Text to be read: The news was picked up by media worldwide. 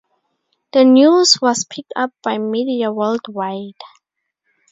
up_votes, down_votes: 6, 0